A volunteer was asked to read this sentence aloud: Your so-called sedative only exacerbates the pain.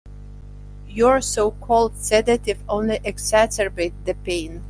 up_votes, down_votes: 0, 2